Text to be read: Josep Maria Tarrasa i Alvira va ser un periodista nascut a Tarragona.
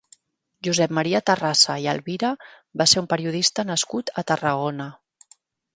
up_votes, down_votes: 2, 0